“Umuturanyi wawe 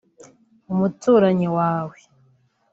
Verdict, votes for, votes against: accepted, 4, 1